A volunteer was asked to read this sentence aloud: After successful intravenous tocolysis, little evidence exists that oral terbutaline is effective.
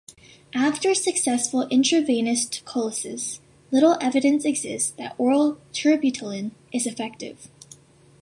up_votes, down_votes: 1, 2